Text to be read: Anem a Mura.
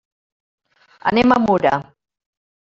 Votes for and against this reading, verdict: 3, 0, accepted